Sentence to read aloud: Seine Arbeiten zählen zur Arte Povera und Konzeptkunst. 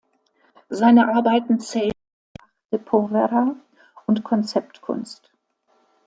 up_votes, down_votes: 0, 2